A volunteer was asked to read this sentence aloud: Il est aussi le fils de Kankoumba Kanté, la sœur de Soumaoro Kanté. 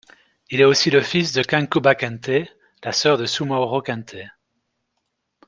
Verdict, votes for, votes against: accepted, 2, 0